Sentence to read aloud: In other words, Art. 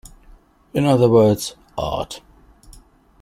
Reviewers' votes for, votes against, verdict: 2, 0, accepted